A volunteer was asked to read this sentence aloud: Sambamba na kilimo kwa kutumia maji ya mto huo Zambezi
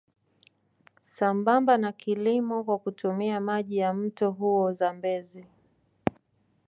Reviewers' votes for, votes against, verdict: 2, 0, accepted